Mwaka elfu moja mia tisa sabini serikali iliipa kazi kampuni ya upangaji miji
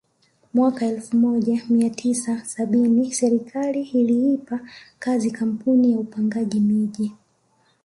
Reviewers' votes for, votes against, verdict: 1, 2, rejected